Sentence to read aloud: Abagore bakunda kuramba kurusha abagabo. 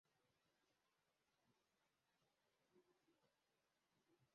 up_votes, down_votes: 0, 2